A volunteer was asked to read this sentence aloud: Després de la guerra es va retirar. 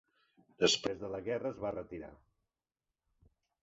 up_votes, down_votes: 1, 2